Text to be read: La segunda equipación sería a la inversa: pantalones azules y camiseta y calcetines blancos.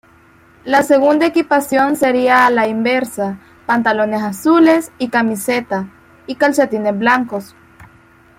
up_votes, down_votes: 2, 1